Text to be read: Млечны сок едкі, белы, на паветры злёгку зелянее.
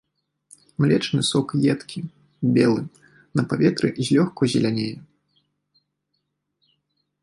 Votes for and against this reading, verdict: 1, 2, rejected